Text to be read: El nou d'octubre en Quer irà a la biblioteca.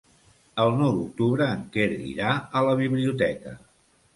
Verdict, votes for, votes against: accepted, 2, 0